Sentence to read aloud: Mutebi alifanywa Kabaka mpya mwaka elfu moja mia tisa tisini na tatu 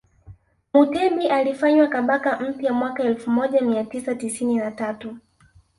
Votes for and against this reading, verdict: 1, 2, rejected